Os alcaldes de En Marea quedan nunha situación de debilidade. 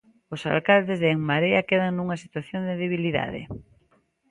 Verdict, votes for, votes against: accepted, 2, 0